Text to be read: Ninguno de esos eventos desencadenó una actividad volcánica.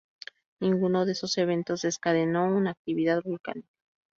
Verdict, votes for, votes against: rejected, 0, 2